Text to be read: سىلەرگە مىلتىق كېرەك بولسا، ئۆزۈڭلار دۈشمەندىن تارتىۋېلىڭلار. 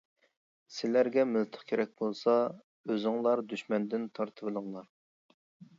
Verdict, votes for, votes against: accepted, 2, 0